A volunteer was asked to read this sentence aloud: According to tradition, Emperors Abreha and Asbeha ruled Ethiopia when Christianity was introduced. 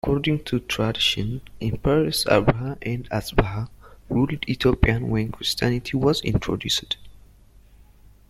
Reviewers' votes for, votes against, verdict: 0, 2, rejected